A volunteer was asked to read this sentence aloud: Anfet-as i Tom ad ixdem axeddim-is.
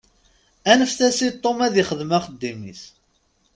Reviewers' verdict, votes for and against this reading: accepted, 2, 0